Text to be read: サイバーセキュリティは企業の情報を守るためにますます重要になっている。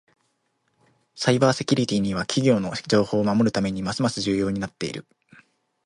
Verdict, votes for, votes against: rejected, 1, 2